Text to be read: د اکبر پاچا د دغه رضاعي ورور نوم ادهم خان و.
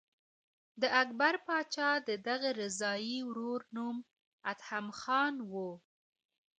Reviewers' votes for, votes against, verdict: 0, 2, rejected